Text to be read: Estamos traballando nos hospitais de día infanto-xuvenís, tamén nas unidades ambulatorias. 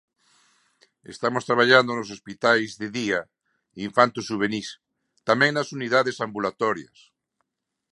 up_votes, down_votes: 2, 0